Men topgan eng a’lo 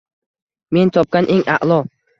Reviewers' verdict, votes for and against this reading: accepted, 2, 0